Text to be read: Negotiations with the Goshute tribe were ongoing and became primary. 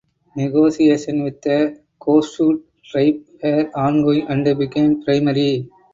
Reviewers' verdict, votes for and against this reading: rejected, 0, 4